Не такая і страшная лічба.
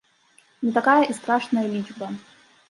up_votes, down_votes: 2, 0